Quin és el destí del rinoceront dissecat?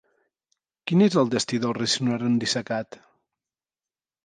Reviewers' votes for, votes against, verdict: 0, 2, rejected